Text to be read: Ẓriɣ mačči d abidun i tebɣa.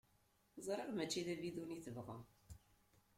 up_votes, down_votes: 2, 0